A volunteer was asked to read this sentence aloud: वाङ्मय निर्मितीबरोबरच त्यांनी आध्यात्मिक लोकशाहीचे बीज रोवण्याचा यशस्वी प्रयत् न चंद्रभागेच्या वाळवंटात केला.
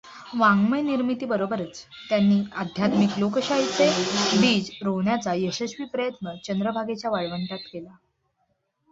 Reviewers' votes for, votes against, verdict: 2, 0, accepted